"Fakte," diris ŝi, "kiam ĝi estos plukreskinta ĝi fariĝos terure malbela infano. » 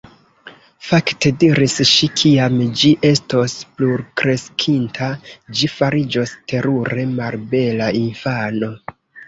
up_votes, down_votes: 2, 0